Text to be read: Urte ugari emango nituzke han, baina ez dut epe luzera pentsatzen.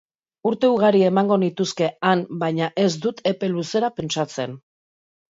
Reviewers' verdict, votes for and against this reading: accepted, 4, 0